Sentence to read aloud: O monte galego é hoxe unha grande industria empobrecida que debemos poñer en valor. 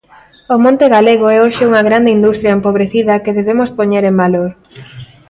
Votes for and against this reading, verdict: 2, 0, accepted